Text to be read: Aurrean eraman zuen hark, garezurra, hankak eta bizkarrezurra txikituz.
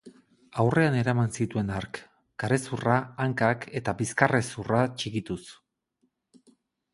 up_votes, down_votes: 0, 4